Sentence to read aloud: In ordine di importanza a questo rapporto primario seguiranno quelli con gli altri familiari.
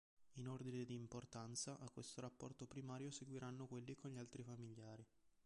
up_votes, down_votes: 2, 0